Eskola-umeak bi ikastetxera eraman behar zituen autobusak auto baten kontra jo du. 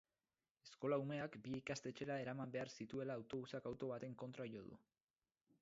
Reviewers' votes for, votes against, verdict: 2, 0, accepted